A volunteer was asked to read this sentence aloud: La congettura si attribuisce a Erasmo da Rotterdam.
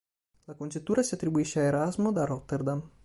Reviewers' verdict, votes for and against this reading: accepted, 2, 0